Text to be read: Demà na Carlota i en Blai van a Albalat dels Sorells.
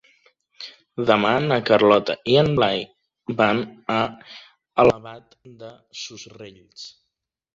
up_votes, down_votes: 1, 2